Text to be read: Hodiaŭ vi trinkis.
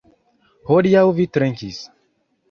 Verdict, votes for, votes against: accepted, 2, 0